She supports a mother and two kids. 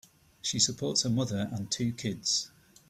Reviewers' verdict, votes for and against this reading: accepted, 2, 1